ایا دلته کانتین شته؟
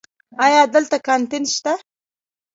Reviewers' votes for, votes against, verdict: 0, 2, rejected